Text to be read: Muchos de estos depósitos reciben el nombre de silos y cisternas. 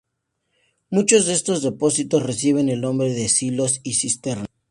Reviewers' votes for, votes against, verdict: 2, 0, accepted